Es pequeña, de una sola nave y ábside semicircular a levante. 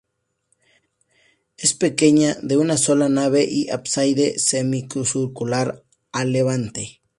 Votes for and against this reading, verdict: 0, 2, rejected